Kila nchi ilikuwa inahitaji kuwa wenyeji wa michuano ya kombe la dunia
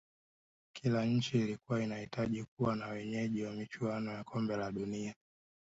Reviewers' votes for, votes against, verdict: 6, 3, accepted